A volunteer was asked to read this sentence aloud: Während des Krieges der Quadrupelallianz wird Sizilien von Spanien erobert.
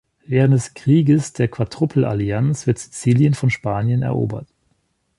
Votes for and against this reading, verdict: 2, 0, accepted